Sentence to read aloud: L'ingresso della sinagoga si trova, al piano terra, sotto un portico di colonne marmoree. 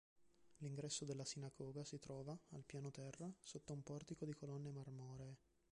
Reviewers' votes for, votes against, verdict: 1, 2, rejected